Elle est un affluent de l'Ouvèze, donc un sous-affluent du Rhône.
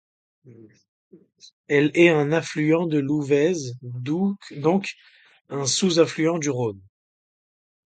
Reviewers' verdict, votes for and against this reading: rejected, 0, 2